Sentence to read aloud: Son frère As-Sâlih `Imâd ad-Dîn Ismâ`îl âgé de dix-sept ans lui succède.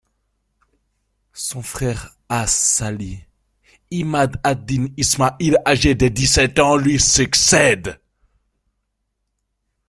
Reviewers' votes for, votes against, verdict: 2, 0, accepted